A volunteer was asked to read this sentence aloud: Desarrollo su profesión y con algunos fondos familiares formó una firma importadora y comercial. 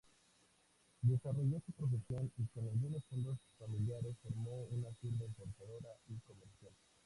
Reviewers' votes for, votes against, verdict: 2, 0, accepted